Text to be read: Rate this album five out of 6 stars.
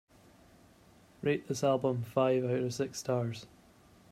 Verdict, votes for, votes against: rejected, 0, 2